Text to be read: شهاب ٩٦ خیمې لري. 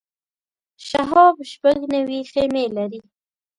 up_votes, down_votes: 0, 2